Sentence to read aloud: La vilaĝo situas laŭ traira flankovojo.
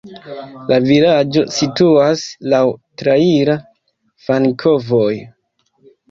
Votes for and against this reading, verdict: 0, 2, rejected